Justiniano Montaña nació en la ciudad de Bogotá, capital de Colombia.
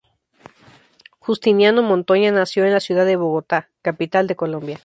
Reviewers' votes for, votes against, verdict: 2, 2, rejected